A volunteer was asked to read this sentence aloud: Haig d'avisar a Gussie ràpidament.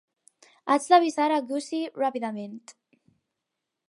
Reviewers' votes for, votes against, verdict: 2, 2, rejected